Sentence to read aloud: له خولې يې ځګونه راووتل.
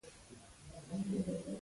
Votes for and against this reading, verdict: 1, 2, rejected